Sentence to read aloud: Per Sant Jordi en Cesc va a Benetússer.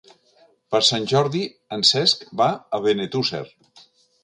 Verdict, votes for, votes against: accepted, 3, 0